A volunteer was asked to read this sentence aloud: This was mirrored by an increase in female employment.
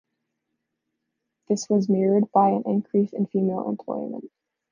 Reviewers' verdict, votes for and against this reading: accepted, 2, 1